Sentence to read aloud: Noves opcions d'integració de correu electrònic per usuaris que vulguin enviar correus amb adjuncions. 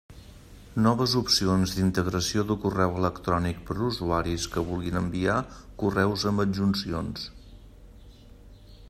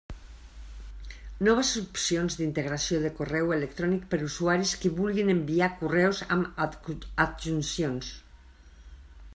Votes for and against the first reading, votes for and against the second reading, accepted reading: 3, 0, 0, 2, first